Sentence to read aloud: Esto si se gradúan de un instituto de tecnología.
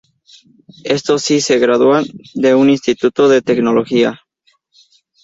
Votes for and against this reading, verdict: 4, 0, accepted